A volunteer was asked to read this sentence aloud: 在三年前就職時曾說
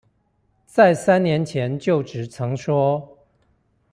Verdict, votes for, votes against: rejected, 0, 2